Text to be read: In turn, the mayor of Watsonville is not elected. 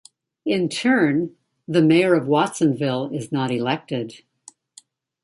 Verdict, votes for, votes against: accepted, 2, 0